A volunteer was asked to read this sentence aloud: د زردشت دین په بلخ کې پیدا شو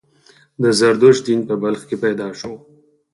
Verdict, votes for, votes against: rejected, 0, 4